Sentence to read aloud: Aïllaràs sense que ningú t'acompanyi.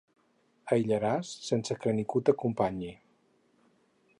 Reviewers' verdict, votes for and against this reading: accepted, 4, 0